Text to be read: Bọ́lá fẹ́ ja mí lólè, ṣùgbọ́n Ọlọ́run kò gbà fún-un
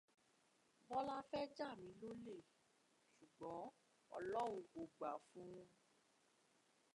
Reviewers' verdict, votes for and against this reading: accepted, 2, 1